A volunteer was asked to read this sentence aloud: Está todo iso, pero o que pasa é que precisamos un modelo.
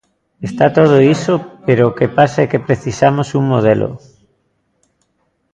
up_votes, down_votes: 0, 2